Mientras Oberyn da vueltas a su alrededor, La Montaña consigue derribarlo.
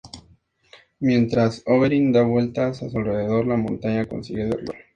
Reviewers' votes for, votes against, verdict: 2, 0, accepted